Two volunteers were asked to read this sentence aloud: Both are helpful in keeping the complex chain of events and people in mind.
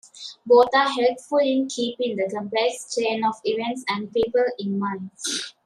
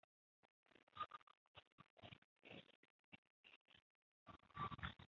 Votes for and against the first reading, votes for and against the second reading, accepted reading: 2, 1, 1, 2, first